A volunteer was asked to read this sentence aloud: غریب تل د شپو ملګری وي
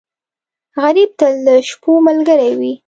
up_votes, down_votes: 3, 0